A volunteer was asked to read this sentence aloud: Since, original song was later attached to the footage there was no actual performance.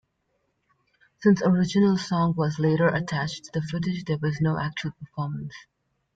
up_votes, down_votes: 2, 1